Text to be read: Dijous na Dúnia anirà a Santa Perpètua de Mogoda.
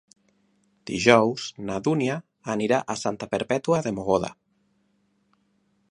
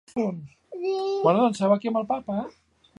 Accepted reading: first